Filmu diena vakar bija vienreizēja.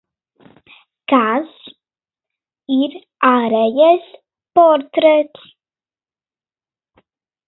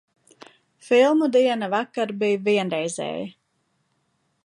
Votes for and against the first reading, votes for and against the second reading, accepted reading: 0, 2, 2, 0, second